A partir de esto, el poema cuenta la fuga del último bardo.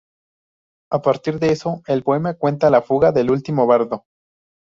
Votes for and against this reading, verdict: 0, 2, rejected